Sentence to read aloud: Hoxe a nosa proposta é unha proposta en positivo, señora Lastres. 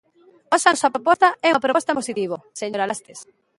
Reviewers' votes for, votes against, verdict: 0, 2, rejected